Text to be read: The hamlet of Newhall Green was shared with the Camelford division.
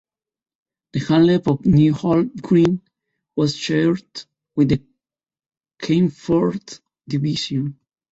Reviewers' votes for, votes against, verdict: 0, 2, rejected